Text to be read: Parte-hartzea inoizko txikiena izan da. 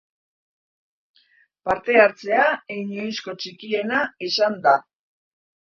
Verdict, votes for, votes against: rejected, 1, 2